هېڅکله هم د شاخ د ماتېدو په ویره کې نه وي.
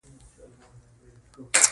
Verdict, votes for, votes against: rejected, 1, 3